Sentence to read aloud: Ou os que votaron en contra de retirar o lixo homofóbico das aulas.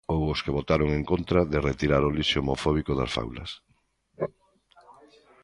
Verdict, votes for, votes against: rejected, 1, 2